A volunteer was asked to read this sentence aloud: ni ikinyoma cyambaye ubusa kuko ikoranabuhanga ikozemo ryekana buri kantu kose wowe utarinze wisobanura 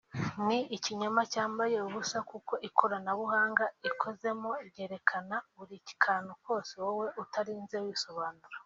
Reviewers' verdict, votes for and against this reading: accepted, 2, 0